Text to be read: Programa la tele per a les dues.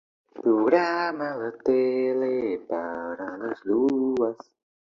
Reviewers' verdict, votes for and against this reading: rejected, 0, 2